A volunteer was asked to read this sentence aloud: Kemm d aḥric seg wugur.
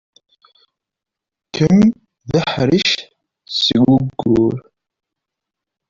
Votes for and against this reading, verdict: 1, 2, rejected